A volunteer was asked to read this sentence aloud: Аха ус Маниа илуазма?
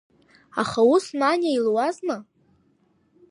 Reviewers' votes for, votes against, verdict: 2, 1, accepted